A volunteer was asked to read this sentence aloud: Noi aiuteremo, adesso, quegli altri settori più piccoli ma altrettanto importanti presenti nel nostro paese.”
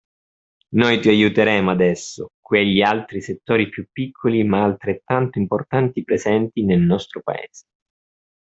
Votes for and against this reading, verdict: 1, 2, rejected